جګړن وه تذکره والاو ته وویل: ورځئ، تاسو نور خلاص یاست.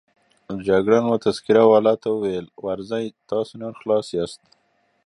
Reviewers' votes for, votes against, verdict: 2, 0, accepted